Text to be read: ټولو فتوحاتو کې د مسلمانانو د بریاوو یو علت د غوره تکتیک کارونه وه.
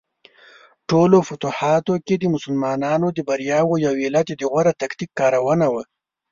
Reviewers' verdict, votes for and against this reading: accepted, 4, 0